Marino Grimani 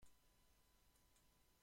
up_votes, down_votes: 1, 2